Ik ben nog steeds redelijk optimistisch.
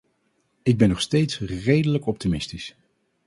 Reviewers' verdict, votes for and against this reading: accepted, 4, 0